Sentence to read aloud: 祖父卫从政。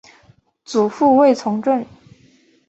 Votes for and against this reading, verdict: 2, 0, accepted